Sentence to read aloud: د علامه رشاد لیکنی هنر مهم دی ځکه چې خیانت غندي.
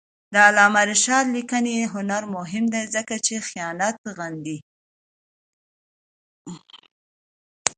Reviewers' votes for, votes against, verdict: 2, 0, accepted